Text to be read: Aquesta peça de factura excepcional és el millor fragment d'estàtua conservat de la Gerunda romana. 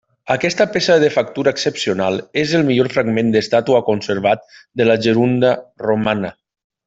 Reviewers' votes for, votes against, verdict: 3, 0, accepted